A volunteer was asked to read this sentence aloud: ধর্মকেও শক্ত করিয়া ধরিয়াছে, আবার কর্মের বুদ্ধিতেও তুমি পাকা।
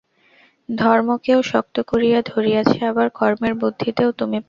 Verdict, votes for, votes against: rejected, 0, 2